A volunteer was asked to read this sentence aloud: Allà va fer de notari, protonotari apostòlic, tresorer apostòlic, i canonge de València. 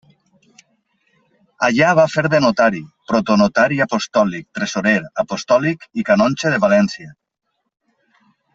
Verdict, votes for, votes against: accepted, 2, 0